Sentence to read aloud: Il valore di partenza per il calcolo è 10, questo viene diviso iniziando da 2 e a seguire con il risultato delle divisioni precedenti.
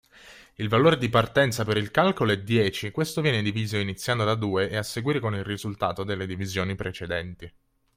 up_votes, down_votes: 0, 2